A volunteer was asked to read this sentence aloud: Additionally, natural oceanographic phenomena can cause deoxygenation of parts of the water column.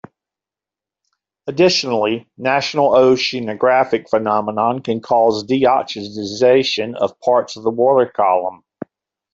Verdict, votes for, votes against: accepted, 2, 0